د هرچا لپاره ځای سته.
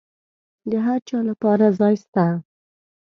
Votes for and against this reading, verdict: 2, 0, accepted